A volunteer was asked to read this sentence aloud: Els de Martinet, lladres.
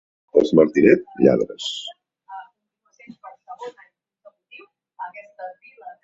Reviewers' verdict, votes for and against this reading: rejected, 0, 2